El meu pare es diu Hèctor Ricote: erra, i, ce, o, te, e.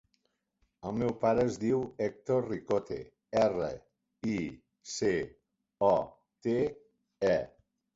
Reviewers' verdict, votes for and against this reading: accepted, 2, 1